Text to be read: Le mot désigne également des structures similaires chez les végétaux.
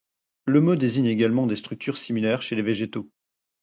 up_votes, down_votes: 4, 0